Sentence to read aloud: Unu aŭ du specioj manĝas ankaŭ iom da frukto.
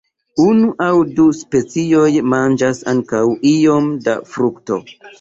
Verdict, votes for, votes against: accepted, 2, 0